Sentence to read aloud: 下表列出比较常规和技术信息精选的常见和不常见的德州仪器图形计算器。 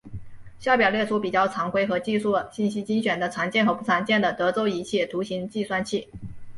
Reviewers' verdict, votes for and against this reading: accepted, 2, 1